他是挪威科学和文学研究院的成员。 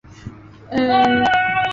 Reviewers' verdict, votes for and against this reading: rejected, 0, 5